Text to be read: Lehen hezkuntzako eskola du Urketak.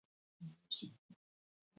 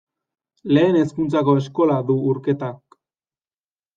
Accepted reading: second